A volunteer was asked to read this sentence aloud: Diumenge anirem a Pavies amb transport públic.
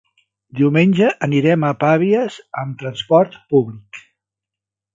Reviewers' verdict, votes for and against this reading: rejected, 0, 2